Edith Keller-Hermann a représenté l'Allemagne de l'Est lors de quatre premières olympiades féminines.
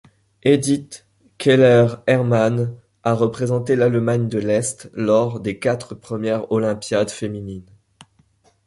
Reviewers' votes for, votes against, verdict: 1, 2, rejected